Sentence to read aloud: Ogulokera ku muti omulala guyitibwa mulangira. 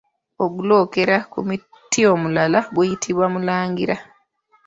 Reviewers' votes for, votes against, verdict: 0, 2, rejected